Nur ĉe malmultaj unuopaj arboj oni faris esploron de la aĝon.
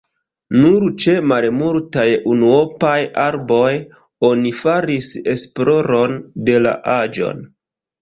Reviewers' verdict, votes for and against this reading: rejected, 0, 2